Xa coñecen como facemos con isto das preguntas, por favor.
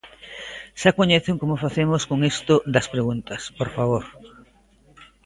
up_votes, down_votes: 2, 1